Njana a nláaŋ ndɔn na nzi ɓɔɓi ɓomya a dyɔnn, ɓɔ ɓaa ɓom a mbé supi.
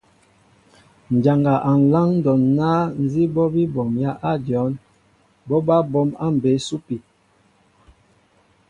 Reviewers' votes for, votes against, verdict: 2, 0, accepted